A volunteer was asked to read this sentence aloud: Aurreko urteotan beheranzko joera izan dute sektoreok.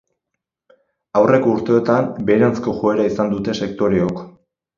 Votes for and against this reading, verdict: 4, 2, accepted